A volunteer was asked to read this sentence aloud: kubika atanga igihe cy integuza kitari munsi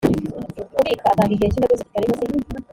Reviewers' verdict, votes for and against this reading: rejected, 1, 2